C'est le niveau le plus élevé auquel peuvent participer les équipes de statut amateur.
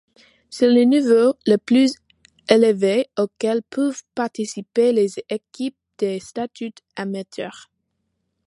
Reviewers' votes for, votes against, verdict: 2, 1, accepted